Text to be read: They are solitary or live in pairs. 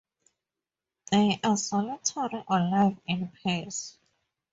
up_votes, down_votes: 4, 0